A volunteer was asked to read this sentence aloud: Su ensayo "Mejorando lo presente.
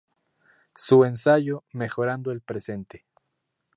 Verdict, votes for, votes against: rejected, 0, 2